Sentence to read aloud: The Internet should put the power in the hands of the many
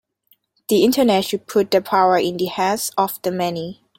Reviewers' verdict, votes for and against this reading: accepted, 2, 0